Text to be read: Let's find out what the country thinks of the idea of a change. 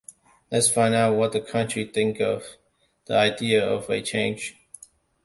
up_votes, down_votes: 0, 2